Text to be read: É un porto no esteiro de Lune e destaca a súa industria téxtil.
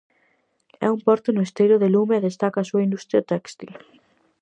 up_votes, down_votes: 0, 4